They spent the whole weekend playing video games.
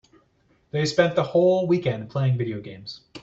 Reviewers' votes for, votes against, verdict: 2, 0, accepted